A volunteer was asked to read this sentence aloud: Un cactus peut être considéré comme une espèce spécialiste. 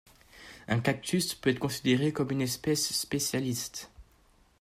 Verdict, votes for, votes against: accepted, 2, 0